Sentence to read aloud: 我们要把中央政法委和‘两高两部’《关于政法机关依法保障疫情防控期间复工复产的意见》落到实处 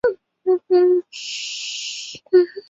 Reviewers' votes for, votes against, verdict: 0, 2, rejected